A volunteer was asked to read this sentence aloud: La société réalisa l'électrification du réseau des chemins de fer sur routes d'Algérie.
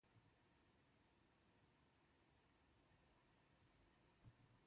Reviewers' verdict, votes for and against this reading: rejected, 0, 2